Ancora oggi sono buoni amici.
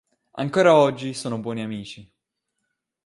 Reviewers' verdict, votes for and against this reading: accepted, 3, 0